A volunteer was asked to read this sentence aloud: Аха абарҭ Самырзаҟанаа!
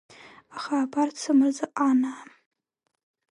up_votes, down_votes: 0, 2